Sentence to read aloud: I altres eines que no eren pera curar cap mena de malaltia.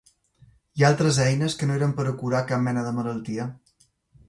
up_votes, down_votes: 3, 0